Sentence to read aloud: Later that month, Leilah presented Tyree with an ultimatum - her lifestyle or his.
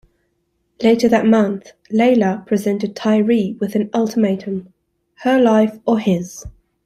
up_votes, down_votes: 0, 2